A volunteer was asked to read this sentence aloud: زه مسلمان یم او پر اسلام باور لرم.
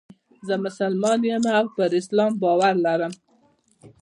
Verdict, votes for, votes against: rejected, 1, 2